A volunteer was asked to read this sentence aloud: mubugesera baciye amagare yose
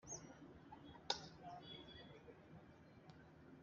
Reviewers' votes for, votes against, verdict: 1, 2, rejected